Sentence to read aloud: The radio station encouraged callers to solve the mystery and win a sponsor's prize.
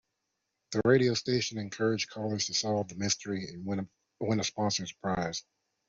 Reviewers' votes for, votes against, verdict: 1, 2, rejected